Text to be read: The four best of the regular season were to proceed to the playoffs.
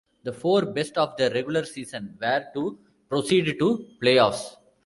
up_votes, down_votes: 1, 2